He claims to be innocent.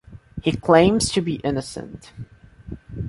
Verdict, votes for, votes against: accepted, 2, 0